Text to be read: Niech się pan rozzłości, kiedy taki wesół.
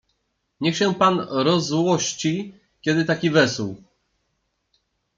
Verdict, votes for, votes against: accepted, 2, 0